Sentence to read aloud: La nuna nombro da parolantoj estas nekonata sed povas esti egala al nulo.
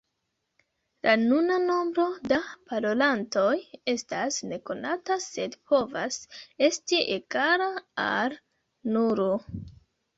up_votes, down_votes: 1, 2